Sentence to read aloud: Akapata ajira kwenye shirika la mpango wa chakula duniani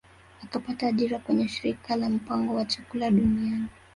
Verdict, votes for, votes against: rejected, 1, 2